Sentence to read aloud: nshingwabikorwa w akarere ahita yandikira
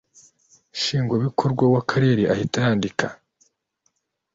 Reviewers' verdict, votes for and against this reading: rejected, 1, 2